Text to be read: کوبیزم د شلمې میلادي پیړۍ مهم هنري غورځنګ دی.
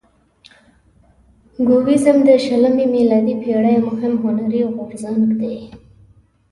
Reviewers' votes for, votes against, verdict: 1, 2, rejected